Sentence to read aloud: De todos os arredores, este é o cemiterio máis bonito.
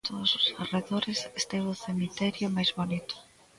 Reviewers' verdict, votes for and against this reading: rejected, 1, 2